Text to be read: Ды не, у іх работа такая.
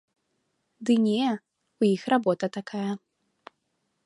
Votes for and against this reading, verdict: 2, 0, accepted